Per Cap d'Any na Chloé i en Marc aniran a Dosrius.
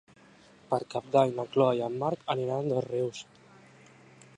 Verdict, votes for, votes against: accepted, 2, 0